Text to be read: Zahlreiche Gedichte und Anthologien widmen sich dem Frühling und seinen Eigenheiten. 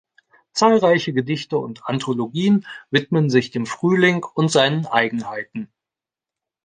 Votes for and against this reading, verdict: 0, 2, rejected